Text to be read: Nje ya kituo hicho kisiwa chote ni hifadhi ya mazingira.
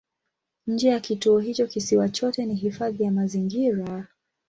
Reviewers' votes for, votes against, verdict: 2, 0, accepted